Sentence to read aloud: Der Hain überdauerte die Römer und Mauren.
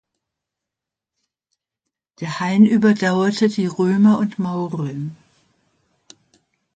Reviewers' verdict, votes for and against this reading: accepted, 2, 0